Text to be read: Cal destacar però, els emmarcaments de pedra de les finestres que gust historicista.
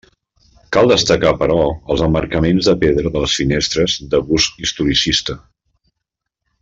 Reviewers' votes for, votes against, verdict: 2, 0, accepted